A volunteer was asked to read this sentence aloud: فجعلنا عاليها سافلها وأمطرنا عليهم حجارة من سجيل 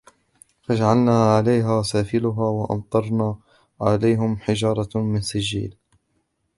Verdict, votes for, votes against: rejected, 1, 2